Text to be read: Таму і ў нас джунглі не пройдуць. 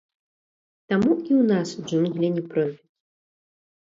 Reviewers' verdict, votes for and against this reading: accepted, 2, 0